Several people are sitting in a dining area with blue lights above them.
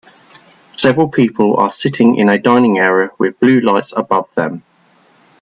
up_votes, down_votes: 2, 0